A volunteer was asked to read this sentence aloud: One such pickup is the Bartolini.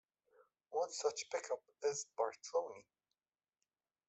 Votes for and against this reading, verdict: 1, 2, rejected